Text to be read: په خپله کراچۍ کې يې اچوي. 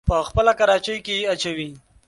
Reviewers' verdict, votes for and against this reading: accepted, 4, 0